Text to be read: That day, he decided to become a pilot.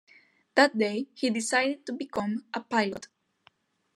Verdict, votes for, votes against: accepted, 2, 0